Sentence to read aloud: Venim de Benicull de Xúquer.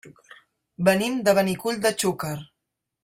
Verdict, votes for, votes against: accepted, 3, 0